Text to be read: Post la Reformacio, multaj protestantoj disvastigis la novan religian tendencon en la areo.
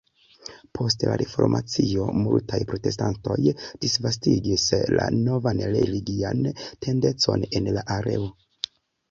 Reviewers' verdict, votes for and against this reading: accepted, 2, 0